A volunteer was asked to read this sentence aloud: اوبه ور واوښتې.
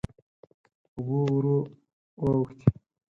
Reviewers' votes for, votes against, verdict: 4, 6, rejected